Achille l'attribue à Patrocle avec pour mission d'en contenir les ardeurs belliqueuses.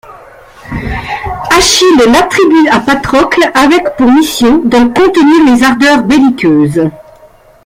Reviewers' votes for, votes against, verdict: 1, 2, rejected